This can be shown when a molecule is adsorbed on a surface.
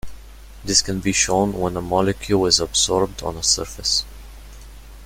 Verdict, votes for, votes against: accepted, 2, 0